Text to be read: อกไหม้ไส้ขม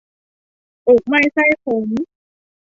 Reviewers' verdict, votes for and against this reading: accepted, 2, 0